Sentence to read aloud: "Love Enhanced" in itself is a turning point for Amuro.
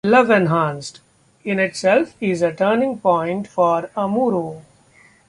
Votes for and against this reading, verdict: 2, 0, accepted